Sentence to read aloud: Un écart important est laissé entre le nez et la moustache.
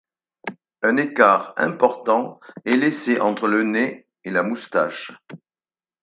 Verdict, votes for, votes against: accepted, 4, 0